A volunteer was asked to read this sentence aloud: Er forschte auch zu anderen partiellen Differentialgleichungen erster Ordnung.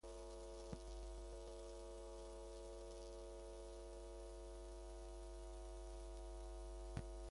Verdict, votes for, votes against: rejected, 0, 2